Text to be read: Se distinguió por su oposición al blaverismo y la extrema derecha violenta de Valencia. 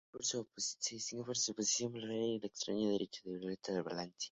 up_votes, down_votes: 4, 0